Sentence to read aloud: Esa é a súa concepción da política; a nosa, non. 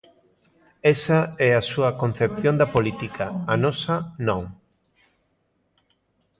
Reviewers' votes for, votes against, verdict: 2, 0, accepted